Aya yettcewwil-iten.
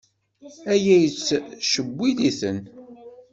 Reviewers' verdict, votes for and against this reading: accepted, 2, 0